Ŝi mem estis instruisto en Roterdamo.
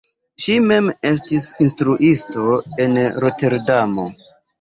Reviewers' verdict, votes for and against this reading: rejected, 1, 2